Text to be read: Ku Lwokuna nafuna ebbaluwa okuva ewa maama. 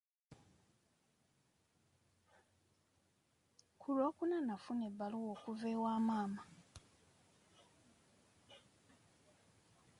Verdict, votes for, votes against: rejected, 1, 2